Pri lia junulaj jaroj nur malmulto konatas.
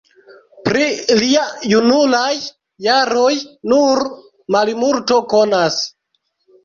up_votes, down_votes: 1, 2